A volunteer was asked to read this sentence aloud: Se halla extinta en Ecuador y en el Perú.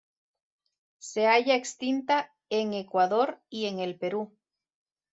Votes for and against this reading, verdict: 2, 0, accepted